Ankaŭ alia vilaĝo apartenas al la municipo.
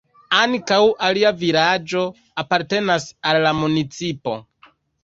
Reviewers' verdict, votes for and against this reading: rejected, 0, 2